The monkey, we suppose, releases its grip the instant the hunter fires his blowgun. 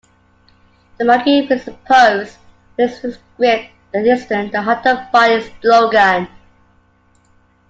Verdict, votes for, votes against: rejected, 0, 2